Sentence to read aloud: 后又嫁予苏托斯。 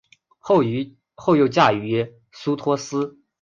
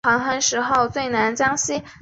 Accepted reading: first